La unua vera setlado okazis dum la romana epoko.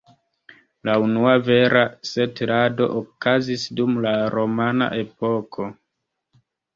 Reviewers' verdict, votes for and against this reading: accepted, 2, 0